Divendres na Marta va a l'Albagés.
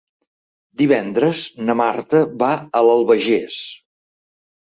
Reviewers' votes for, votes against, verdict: 2, 0, accepted